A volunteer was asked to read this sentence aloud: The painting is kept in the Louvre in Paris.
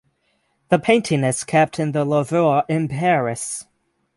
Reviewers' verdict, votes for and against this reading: rejected, 3, 6